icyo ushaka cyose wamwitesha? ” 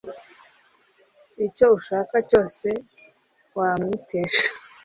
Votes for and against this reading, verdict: 2, 0, accepted